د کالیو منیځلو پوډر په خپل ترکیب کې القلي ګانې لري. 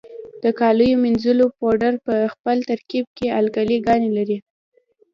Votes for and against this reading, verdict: 2, 0, accepted